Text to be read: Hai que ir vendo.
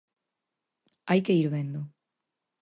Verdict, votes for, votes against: accepted, 4, 0